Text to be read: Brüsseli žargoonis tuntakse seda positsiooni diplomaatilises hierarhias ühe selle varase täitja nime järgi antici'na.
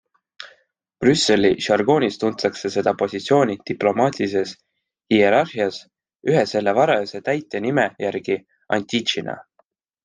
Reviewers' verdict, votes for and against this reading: accepted, 2, 0